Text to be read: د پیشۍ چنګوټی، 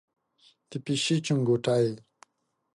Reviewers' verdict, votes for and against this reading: accepted, 2, 0